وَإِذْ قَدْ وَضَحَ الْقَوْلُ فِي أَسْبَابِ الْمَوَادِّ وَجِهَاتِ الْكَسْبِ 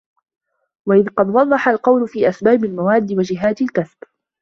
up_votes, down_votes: 2, 0